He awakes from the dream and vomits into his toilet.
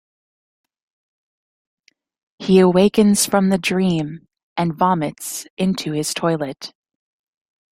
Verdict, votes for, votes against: rejected, 0, 3